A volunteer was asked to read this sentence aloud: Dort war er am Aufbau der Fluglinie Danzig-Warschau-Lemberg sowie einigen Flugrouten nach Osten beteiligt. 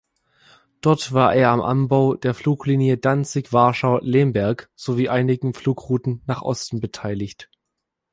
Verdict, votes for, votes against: rejected, 1, 2